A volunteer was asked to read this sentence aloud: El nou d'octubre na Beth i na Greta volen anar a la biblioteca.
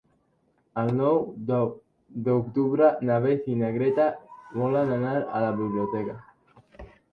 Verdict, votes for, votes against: rejected, 0, 2